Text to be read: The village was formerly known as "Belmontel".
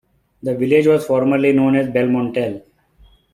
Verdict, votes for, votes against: accepted, 2, 0